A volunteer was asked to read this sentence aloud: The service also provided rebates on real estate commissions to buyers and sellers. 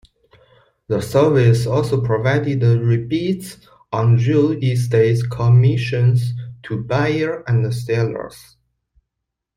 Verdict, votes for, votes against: rejected, 0, 2